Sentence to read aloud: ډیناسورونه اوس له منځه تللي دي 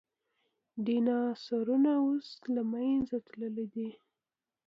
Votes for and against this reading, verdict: 1, 2, rejected